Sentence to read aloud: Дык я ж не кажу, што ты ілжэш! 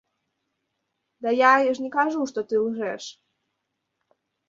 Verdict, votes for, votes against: rejected, 1, 3